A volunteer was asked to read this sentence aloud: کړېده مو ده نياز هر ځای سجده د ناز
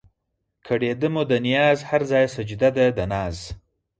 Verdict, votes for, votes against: accepted, 4, 2